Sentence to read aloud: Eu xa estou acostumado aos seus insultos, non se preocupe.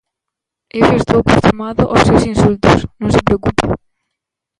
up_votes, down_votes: 0, 2